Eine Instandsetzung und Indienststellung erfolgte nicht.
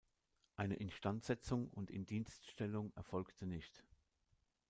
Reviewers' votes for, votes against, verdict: 2, 0, accepted